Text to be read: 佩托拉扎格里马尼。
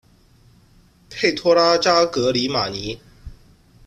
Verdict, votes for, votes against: accepted, 2, 0